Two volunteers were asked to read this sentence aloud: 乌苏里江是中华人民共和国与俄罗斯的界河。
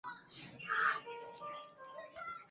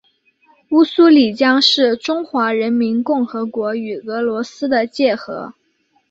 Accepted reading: second